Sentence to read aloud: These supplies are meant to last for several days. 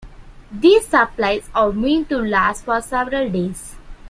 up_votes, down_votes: 2, 0